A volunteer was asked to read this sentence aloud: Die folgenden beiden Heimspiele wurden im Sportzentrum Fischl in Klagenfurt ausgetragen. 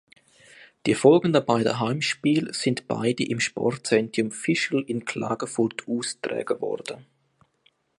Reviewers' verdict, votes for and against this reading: rejected, 0, 2